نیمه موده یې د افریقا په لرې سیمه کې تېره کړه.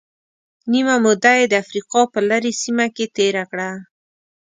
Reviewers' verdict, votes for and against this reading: accepted, 2, 0